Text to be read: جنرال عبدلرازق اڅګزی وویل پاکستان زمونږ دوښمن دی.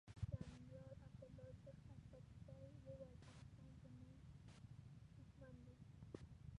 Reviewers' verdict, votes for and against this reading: rejected, 0, 2